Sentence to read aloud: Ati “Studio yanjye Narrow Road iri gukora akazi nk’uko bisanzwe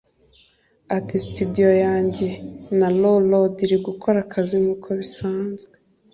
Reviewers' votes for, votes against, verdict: 2, 0, accepted